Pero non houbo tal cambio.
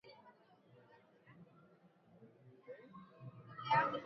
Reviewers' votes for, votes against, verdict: 0, 2, rejected